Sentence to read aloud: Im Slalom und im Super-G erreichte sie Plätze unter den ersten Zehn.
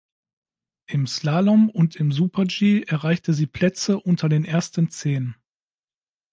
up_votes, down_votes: 3, 0